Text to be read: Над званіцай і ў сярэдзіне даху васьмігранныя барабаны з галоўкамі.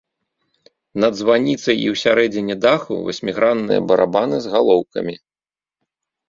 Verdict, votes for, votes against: accepted, 2, 0